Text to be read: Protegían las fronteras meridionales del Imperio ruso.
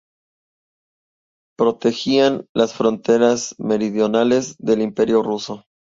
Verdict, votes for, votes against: accepted, 2, 0